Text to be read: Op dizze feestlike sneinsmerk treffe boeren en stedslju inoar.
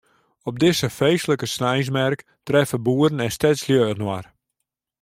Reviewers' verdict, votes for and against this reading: accepted, 2, 0